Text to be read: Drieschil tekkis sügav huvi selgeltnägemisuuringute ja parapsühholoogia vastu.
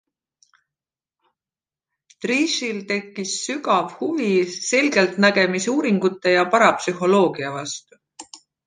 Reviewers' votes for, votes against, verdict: 2, 1, accepted